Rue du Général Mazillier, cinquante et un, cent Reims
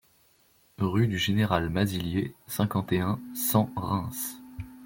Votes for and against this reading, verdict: 2, 0, accepted